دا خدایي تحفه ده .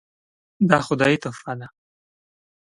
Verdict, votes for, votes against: accepted, 2, 0